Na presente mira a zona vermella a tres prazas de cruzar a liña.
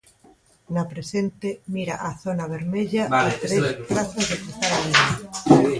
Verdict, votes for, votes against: rejected, 1, 2